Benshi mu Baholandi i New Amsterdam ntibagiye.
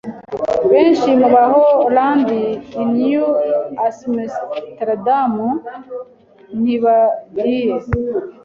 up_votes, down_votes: 2, 0